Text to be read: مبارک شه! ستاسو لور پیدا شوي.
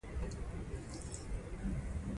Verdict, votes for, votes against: accepted, 2, 1